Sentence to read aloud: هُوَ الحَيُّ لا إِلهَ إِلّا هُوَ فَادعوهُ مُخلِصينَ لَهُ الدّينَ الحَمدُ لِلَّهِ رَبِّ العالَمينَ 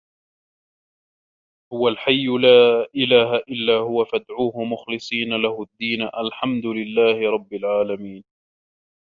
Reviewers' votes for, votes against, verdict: 1, 2, rejected